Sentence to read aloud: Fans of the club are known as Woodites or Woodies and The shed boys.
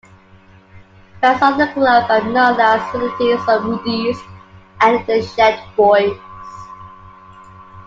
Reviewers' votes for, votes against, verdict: 0, 2, rejected